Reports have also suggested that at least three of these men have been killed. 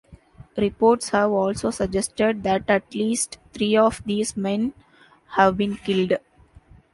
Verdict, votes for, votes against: accepted, 2, 0